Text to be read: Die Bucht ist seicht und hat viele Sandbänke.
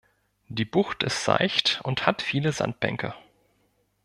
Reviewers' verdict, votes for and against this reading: accepted, 2, 0